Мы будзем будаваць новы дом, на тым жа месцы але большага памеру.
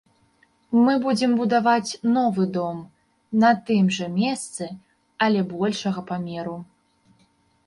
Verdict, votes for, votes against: accepted, 2, 0